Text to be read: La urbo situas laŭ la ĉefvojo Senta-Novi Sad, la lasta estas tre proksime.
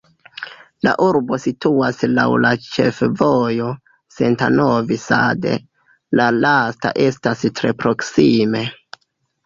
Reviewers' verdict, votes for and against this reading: rejected, 1, 2